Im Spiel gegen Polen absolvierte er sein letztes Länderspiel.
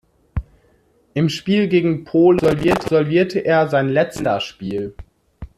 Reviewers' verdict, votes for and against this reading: rejected, 0, 2